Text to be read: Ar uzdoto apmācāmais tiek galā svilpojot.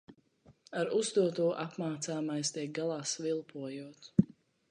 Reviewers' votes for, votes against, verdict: 2, 0, accepted